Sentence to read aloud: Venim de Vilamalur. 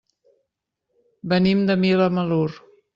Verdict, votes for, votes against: rejected, 0, 2